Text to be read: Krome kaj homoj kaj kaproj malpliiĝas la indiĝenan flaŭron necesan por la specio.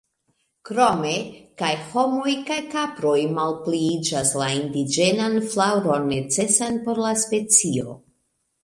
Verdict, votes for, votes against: accepted, 2, 0